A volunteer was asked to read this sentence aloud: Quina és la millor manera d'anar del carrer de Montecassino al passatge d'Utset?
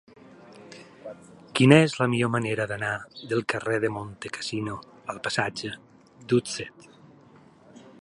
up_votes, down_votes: 2, 4